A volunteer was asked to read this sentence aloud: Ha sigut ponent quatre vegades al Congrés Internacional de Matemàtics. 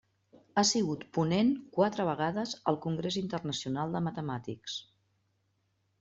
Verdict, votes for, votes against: accepted, 3, 0